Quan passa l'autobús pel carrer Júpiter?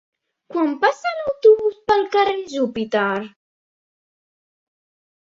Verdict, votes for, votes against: accepted, 2, 1